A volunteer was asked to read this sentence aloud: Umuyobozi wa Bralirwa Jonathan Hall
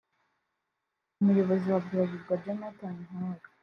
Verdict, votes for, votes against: accepted, 3, 0